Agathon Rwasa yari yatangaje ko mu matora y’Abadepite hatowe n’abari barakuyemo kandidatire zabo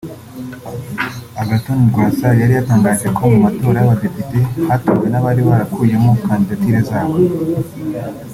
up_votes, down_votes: 4, 0